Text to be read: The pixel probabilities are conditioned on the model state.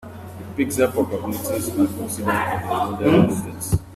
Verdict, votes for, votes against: rejected, 0, 2